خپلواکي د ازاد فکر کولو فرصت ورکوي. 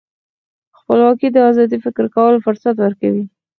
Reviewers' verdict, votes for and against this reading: accepted, 4, 2